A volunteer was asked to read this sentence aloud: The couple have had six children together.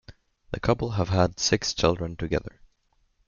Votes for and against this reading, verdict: 2, 0, accepted